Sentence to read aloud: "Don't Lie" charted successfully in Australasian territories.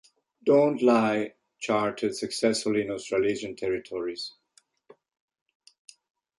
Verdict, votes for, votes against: accepted, 2, 0